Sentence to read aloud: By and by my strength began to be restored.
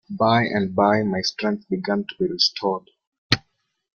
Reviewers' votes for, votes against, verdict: 2, 0, accepted